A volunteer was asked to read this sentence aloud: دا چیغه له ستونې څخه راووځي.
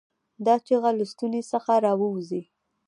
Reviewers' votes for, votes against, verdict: 1, 2, rejected